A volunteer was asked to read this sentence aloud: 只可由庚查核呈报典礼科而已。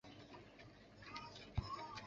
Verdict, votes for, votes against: rejected, 1, 4